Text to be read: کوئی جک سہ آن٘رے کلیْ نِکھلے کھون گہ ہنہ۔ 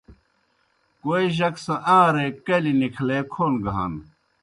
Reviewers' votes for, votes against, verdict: 2, 0, accepted